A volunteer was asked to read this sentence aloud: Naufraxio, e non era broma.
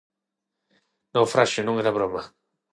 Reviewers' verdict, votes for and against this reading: accepted, 6, 0